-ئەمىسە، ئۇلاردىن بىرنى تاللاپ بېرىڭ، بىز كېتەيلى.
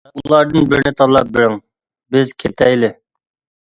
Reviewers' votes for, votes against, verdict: 1, 2, rejected